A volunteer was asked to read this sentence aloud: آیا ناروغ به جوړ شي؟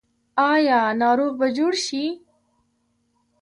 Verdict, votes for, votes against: rejected, 0, 2